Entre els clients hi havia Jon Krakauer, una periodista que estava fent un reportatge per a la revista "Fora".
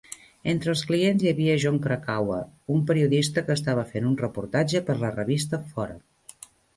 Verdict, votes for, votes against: rejected, 0, 2